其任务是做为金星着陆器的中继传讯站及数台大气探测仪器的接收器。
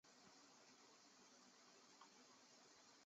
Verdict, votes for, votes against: rejected, 0, 2